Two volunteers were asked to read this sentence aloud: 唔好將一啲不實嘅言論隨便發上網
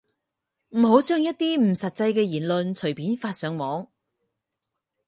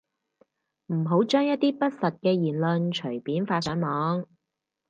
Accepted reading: second